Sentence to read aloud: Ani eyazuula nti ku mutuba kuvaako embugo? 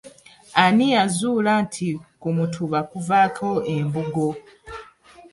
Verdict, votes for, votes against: accepted, 2, 0